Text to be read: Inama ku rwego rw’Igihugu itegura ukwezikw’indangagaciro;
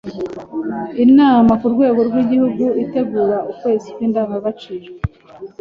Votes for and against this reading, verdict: 2, 0, accepted